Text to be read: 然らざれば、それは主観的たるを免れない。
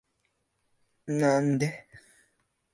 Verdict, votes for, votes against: rejected, 0, 2